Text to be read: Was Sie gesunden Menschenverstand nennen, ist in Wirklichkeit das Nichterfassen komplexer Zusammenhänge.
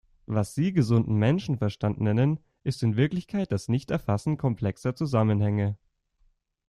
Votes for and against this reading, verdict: 2, 0, accepted